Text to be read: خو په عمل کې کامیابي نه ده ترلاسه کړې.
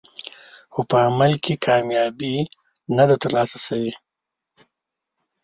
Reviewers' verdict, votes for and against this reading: rejected, 1, 2